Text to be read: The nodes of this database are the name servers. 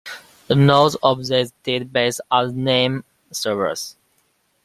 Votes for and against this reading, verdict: 0, 2, rejected